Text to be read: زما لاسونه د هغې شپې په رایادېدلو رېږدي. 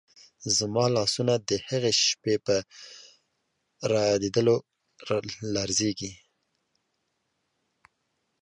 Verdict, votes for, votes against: rejected, 1, 2